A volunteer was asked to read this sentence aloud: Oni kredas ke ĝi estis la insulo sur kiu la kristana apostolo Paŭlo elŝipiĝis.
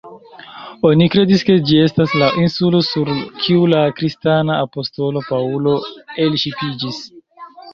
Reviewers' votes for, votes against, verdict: 2, 0, accepted